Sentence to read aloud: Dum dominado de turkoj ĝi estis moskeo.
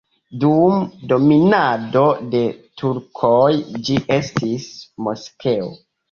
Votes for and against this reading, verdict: 0, 2, rejected